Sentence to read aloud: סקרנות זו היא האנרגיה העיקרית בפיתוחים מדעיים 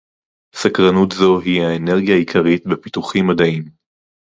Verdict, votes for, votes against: rejected, 2, 2